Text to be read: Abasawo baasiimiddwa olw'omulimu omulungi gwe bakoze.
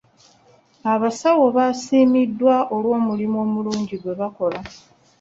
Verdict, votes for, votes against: rejected, 1, 2